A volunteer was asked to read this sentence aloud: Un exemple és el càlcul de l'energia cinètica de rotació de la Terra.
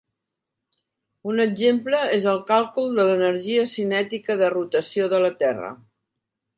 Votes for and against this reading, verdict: 3, 0, accepted